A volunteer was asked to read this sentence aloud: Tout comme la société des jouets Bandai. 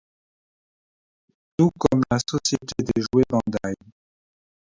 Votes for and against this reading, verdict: 2, 1, accepted